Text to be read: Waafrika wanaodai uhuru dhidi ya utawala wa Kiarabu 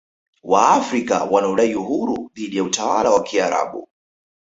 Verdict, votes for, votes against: accepted, 2, 1